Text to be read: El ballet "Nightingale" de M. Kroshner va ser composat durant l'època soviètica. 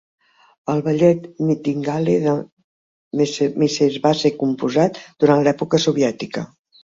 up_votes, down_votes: 0, 4